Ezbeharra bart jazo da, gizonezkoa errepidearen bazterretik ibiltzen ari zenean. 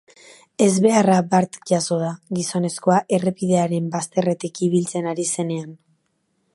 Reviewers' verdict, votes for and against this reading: accepted, 2, 0